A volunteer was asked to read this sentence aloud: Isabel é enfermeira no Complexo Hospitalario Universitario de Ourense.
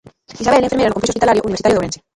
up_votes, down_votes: 0, 2